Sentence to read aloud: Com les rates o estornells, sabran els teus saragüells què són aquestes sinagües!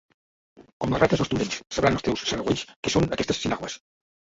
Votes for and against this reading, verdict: 0, 2, rejected